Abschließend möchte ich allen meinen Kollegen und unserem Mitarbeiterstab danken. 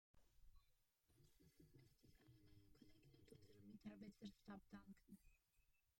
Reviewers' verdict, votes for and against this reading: rejected, 0, 2